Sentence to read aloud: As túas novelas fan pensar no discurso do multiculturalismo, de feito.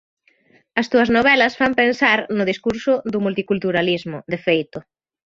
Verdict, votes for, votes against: accepted, 2, 1